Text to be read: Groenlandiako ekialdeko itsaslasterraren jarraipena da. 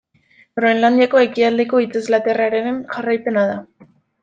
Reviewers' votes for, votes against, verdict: 0, 2, rejected